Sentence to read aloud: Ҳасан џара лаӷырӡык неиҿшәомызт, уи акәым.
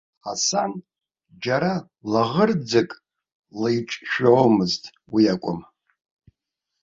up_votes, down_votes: 1, 2